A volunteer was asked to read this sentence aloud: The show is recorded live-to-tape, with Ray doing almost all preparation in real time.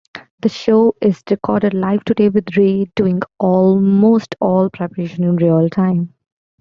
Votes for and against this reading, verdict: 2, 0, accepted